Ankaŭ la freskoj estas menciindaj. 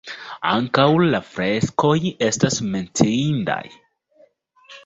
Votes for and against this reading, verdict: 2, 0, accepted